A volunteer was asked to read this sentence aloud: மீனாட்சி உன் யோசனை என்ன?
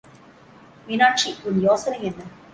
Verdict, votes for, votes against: accepted, 2, 0